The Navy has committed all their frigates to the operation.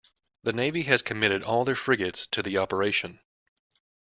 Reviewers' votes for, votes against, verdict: 2, 0, accepted